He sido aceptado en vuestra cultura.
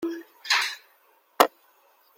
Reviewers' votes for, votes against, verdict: 0, 2, rejected